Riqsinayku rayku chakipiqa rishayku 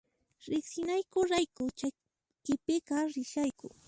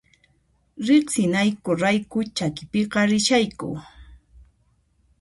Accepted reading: second